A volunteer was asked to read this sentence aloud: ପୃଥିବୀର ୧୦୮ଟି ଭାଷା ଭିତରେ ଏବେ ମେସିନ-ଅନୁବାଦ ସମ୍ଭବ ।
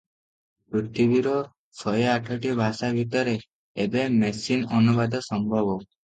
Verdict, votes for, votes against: rejected, 0, 2